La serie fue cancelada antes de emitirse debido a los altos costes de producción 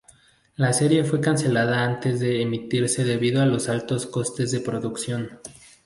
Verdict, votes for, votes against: accepted, 2, 0